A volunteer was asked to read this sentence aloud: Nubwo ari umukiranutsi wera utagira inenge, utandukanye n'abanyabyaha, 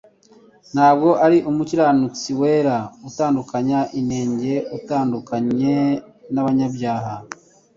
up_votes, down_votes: 1, 2